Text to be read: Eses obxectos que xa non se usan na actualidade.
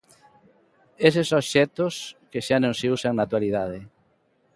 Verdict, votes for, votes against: accepted, 2, 0